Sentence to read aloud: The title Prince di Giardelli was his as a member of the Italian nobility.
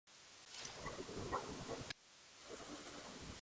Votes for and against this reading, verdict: 0, 2, rejected